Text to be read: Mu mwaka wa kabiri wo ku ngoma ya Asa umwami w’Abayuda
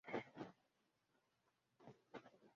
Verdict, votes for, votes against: rejected, 0, 2